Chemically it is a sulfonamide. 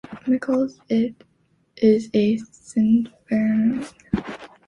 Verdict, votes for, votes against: rejected, 0, 2